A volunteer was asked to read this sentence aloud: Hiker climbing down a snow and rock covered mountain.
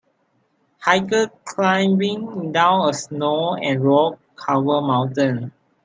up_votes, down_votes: 0, 2